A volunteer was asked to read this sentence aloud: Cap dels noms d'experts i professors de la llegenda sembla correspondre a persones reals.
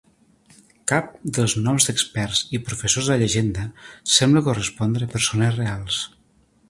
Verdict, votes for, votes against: rejected, 1, 2